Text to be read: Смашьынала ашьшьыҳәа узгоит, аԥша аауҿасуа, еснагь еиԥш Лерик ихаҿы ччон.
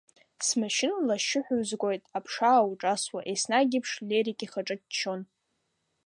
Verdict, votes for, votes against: accepted, 2, 0